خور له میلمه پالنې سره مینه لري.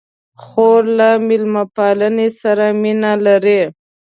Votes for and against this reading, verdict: 2, 0, accepted